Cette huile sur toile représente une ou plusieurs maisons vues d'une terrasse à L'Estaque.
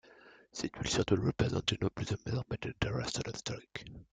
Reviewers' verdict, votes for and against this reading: rejected, 0, 2